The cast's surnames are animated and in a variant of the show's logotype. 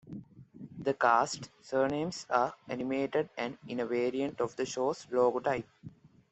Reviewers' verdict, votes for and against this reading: accepted, 2, 0